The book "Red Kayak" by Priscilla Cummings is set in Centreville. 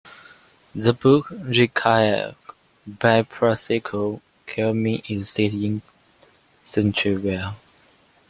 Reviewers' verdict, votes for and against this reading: accepted, 2, 1